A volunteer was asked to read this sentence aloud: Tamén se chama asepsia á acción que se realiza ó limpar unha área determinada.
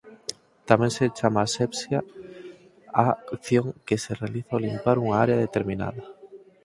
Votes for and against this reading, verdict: 2, 4, rejected